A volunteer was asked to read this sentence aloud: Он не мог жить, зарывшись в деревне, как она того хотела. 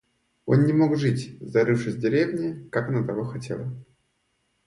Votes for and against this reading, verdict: 2, 0, accepted